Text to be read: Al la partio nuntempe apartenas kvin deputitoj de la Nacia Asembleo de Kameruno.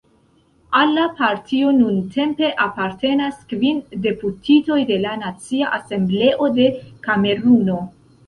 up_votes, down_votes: 0, 2